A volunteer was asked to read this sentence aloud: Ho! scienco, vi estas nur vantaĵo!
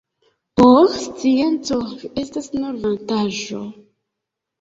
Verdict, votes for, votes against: rejected, 1, 2